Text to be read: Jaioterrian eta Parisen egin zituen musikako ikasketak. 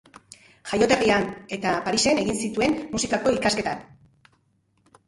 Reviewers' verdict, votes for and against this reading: rejected, 0, 2